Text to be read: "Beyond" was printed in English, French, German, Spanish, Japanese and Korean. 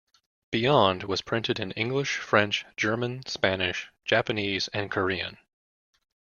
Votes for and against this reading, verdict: 2, 0, accepted